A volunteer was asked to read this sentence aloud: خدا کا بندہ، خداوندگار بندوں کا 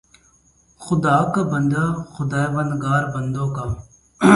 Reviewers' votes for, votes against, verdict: 16, 2, accepted